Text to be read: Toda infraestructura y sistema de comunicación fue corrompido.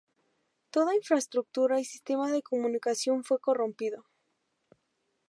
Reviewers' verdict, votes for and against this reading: accepted, 2, 0